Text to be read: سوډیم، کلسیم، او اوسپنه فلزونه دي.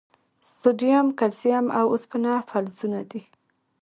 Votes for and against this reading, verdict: 2, 0, accepted